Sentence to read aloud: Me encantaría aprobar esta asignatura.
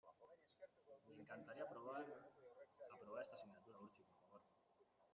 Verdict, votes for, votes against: rejected, 0, 2